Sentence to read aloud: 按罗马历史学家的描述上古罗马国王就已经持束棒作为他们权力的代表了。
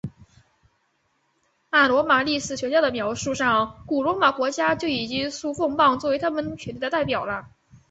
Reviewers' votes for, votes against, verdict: 2, 1, accepted